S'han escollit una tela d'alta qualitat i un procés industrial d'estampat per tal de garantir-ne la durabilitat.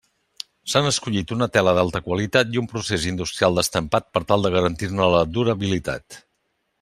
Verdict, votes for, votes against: accepted, 2, 0